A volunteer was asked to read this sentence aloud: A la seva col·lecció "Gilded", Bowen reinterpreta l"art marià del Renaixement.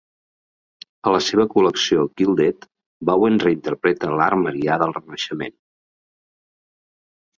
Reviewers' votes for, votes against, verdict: 2, 0, accepted